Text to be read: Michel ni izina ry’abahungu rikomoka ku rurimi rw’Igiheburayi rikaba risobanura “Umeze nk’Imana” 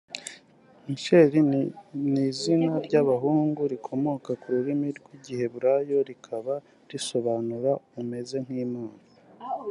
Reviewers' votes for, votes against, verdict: 1, 2, rejected